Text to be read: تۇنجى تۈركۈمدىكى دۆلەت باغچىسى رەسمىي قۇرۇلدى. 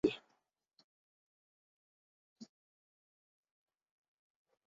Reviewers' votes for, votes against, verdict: 0, 2, rejected